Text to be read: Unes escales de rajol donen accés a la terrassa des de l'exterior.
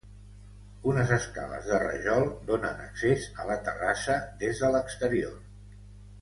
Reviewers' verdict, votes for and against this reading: accepted, 2, 0